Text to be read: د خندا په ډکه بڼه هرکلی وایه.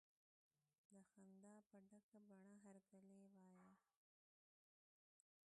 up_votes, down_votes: 1, 2